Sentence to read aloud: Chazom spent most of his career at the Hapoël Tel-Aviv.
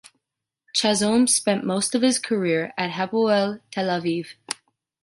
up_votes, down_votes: 1, 2